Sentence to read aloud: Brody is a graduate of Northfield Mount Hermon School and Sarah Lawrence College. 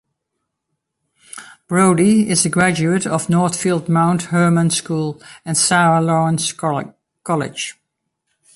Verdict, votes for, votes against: rejected, 1, 2